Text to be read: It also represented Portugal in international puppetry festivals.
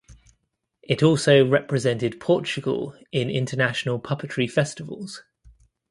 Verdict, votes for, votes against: accepted, 2, 0